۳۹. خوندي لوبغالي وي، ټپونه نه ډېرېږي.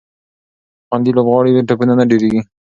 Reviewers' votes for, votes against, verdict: 0, 2, rejected